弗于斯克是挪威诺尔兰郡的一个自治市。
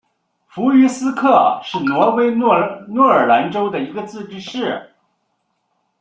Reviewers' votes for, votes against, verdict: 0, 2, rejected